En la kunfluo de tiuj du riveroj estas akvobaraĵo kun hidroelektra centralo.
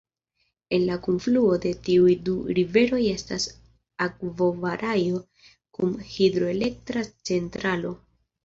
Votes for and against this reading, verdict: 2, 3, rejected